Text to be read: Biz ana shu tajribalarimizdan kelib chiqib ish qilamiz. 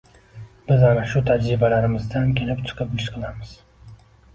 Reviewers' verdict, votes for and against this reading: accepted, 2, 0